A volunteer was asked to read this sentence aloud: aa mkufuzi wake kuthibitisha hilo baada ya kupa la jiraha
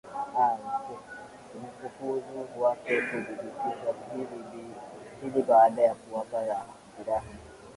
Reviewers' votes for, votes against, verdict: 0, 2, rejected